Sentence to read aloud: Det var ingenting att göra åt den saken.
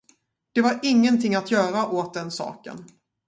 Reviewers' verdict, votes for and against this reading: accepted, 2, 0